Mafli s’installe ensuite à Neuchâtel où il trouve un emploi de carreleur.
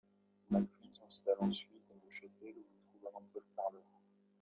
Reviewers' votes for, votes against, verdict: 1, 2, rejected